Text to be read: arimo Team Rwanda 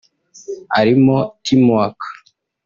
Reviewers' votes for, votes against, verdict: 0, 2, rejected